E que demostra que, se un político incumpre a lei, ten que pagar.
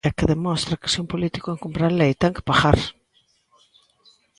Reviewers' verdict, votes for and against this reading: accepted, 2, 0